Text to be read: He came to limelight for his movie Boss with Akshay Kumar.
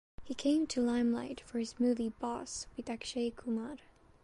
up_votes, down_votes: 1, 2